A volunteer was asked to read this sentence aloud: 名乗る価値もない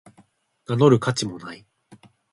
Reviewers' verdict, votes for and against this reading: accepted, 3, 0